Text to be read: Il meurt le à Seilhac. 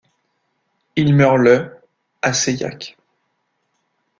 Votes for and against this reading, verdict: 2, 0, accepted